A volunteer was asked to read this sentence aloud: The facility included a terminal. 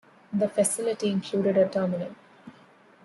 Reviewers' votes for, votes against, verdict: 2, 0, accepted